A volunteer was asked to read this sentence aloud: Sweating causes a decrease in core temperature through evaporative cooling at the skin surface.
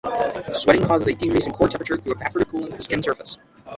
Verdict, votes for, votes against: rejected, 0, 6